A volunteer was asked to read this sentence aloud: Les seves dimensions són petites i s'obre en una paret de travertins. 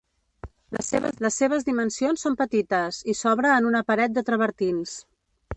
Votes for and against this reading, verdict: 0, 2, rejected